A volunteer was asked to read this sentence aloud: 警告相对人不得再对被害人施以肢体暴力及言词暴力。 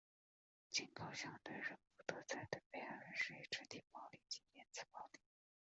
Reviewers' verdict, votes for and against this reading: accepted, 3, 0